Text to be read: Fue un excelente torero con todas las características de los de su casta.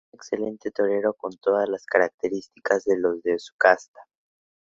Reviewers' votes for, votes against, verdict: 0, 2, rejected